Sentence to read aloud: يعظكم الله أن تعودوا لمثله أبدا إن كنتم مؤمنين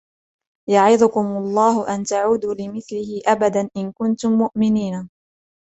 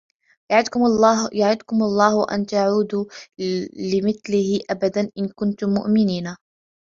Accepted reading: first